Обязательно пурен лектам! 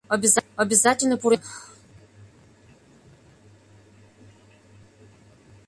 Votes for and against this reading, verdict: 0, 2, rejected